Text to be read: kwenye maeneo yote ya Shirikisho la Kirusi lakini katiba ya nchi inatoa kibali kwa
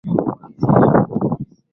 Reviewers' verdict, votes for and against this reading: rejected, 2, 3